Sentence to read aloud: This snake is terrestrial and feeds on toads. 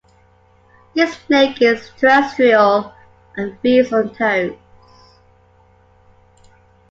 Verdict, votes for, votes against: accepted, 2, 1